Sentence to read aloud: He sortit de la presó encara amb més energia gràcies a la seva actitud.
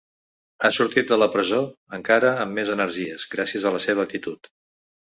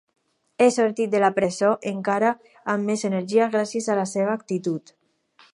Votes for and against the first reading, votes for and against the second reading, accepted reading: 2, 3, 4, 0, second